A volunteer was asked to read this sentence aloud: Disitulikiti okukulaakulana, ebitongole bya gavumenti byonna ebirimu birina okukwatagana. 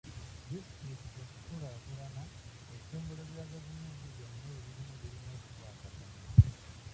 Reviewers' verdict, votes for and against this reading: rejected, 0, 2